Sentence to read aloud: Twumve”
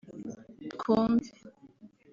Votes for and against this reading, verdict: 2, 0, accepted